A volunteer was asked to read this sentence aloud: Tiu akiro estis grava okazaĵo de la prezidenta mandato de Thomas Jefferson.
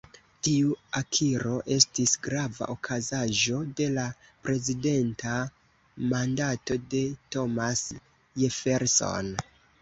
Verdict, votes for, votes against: rejected, 1, 2